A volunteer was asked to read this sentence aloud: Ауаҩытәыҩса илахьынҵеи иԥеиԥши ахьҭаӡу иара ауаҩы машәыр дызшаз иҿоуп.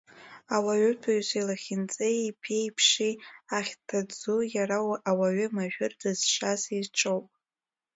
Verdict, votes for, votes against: rejected, 1, 2